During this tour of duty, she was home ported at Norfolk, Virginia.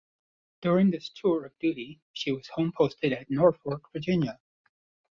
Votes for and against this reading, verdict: 1, 2, rejected